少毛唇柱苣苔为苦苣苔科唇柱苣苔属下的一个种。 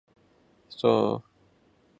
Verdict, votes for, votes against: rejected, 0, 2